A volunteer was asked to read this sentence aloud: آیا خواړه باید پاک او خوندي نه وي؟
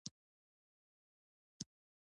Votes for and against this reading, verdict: 1, 2, rejected